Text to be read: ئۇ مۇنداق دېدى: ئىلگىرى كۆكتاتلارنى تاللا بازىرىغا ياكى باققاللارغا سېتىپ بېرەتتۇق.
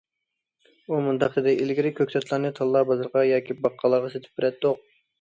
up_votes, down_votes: 2, 0